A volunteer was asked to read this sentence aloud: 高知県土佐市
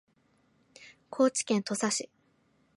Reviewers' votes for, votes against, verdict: 2, 0, accepted